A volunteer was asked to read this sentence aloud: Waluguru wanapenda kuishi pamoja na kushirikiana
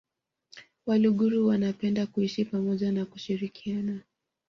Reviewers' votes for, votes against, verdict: 2, 0, accepted